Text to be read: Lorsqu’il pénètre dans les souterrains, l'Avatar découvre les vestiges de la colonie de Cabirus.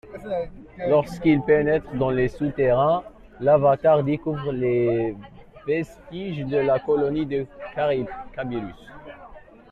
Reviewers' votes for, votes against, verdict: 0, 2, rejected